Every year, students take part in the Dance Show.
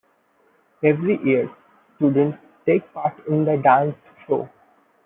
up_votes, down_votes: 2, 0